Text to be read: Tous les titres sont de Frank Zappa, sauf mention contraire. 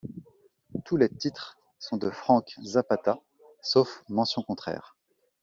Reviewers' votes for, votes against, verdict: 0, 2, rejected